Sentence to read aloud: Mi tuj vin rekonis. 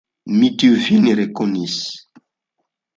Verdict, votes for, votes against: rejected, 1, 2